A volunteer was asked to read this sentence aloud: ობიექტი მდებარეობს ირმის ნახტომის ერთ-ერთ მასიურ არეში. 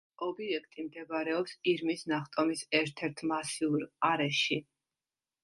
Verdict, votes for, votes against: accepted, 2, 0